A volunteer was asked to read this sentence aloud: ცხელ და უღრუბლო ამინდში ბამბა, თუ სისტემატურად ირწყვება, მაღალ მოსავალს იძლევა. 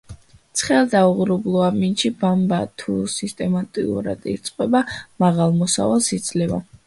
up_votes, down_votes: 1, 2